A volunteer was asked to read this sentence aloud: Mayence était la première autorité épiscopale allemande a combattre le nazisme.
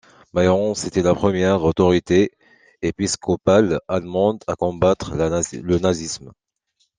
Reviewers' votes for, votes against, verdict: 0, 2, rejected